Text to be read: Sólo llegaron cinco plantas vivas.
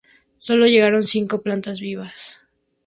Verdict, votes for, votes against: accepted, 4, 0